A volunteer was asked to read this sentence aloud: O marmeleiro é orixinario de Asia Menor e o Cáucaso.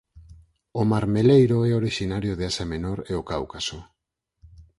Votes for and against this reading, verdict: 6, 0, accepted